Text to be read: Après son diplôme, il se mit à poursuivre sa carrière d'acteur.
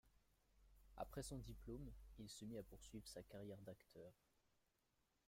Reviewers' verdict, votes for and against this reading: rejected, 1, 2